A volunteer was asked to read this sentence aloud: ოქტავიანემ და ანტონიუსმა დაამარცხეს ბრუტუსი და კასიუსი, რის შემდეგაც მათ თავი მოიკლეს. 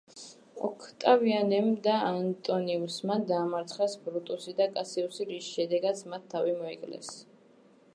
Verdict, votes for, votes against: accepted, 2, 1